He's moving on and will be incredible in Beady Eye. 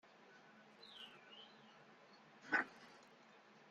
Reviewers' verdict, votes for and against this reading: rejected, 0, 2